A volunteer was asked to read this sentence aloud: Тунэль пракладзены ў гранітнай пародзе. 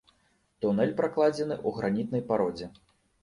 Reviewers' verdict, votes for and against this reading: accepted, 2, 0